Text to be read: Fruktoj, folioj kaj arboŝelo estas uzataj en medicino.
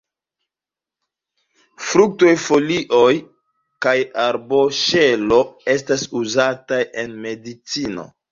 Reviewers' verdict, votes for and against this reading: rejected, 1, 2